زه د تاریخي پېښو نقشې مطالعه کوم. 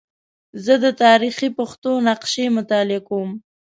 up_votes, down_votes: 0, 2